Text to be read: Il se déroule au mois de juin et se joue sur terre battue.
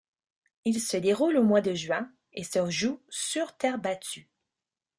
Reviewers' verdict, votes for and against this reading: accepted, 2, 1